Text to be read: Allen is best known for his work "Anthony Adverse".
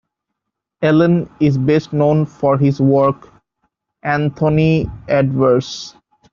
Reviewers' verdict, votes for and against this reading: accepted, 2, 0